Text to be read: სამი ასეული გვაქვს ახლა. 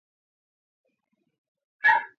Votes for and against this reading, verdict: 0, 2, rejected